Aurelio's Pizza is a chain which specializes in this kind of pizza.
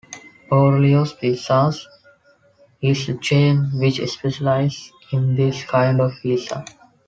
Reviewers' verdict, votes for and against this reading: rejected, 1, 3